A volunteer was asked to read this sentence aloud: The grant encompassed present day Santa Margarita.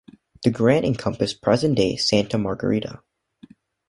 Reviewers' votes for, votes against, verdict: 2, 0, accepted